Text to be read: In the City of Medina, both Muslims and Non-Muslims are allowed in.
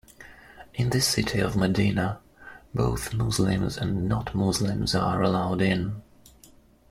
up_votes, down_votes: 0, 2